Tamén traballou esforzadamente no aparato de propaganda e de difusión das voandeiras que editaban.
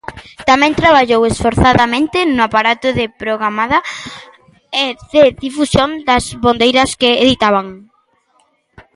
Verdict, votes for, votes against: rejected, 0, 2